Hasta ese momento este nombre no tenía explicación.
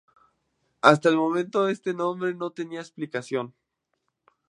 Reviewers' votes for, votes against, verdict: 2, 0, accepted